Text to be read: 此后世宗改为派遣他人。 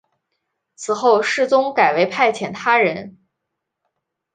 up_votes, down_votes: 2, 0